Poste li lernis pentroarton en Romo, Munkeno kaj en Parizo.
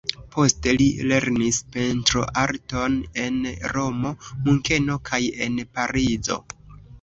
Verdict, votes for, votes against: accepted, 2, 0